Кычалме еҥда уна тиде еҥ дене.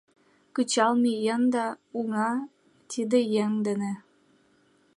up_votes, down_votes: 1, 2